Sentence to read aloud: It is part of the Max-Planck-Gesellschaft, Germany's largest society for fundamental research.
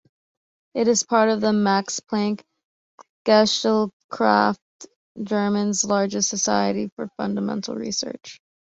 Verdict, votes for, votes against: rejected, 0, 2